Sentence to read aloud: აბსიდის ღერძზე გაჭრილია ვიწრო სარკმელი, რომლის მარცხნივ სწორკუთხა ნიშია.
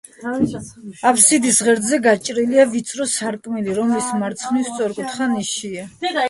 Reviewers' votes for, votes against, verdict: 0, 2, rejected